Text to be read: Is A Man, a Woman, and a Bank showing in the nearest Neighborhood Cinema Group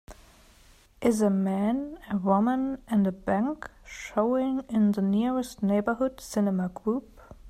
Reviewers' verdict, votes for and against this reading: accepted, 2, 0